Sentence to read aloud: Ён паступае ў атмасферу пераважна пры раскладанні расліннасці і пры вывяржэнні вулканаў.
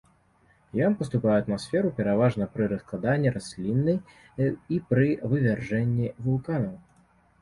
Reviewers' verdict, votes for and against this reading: rejected, 1, 3